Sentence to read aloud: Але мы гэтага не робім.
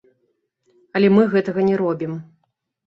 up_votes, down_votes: 2, 0